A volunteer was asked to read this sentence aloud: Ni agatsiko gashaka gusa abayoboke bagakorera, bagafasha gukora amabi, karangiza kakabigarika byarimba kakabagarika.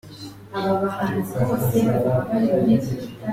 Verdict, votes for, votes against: rejected, 0, 2